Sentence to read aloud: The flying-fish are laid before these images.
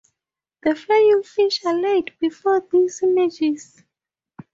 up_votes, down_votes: 0, 4